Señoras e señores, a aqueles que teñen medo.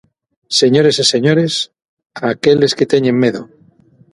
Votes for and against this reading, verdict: 0, 6, rejected